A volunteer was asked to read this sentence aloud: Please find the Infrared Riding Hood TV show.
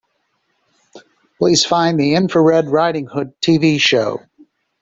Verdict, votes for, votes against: accepted, 3, 0